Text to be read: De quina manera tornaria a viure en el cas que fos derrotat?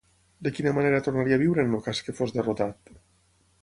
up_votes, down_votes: 3, 6